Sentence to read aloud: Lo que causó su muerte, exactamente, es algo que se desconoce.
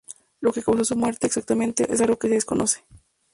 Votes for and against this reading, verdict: 4, 0, accepted